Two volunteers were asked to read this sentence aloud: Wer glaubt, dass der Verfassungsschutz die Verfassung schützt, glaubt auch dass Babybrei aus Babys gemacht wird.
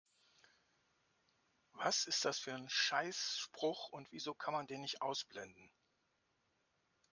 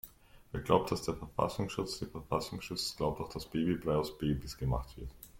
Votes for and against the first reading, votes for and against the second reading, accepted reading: 0, 2, 2, 0, second